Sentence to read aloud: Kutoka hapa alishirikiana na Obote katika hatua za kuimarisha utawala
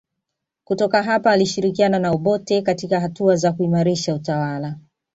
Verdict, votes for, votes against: accepted, 2, 0